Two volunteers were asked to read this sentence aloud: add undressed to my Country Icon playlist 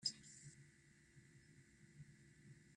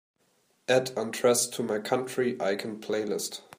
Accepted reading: second